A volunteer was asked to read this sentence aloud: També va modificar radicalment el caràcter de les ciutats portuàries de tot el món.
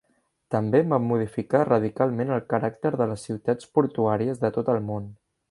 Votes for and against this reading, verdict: 0, 2, rejected